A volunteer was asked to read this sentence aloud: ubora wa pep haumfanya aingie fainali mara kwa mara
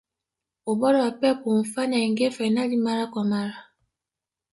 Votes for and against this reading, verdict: 2, 1, accepted